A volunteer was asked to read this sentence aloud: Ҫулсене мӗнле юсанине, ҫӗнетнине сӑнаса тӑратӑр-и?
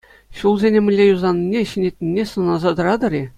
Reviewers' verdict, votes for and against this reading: accepted, 2, 0